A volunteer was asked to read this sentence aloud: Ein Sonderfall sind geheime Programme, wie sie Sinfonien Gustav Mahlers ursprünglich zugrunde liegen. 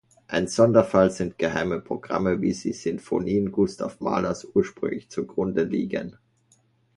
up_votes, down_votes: 2, 0